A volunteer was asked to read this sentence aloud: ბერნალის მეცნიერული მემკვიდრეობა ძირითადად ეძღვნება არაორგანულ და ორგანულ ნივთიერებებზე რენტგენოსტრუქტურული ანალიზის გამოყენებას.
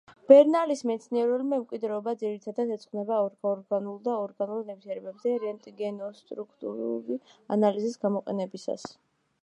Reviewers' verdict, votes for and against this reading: rejected, 0, 2